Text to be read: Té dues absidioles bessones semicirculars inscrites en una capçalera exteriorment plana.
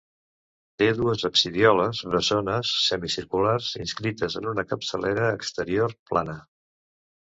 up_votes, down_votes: 1, 2